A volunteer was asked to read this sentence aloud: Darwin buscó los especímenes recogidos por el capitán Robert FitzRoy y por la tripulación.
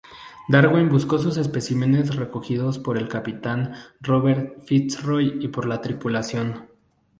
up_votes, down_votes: 0, 2